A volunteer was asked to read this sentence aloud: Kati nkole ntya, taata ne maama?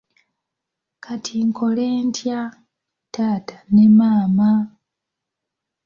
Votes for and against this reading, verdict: 3, 0, accepted